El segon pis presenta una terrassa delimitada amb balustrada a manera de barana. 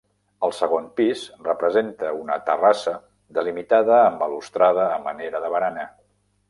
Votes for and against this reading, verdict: 0, 2, rejected